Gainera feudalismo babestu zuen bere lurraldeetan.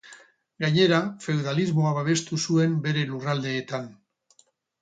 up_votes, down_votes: 0, 4